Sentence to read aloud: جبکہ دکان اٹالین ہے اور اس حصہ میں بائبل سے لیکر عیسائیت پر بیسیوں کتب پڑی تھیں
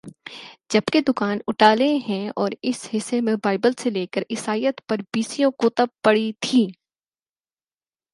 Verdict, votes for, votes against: accepted, 4, 0